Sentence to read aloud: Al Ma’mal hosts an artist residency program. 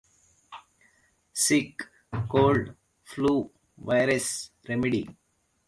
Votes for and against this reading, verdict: 0, 3, rejected